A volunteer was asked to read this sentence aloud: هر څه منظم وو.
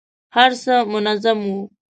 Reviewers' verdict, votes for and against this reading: accepted, 2, 0